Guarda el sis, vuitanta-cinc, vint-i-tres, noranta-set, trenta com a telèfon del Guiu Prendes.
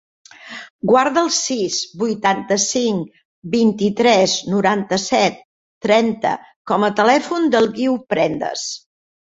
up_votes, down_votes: 3, 0